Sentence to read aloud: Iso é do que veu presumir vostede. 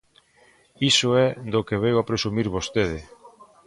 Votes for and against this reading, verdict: 0, 2, rejected